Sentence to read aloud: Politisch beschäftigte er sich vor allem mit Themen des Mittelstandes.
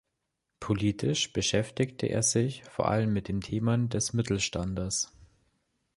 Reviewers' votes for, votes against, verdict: 2, 1, accepted